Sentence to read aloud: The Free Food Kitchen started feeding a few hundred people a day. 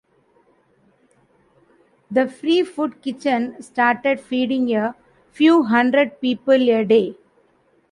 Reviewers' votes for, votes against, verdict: 2, 0, accepted